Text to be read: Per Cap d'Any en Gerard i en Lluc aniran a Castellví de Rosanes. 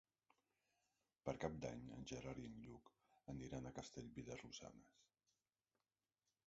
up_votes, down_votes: 2, 3